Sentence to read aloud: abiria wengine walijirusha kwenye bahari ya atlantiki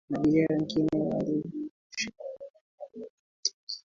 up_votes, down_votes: 2, 1